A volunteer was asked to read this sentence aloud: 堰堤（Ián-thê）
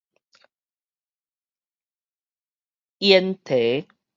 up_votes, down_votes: 2, 2